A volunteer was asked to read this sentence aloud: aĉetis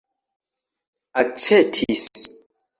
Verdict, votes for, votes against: accepted, 2, 1